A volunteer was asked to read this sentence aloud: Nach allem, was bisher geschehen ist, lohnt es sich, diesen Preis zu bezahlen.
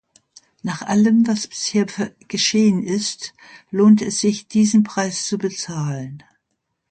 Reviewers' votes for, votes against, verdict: 0, 2, rejected